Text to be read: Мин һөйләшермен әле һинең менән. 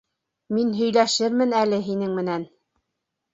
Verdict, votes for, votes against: accepted, 2, 0